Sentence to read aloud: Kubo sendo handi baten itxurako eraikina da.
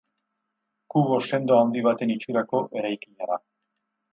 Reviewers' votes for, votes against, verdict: 4, 0, accepted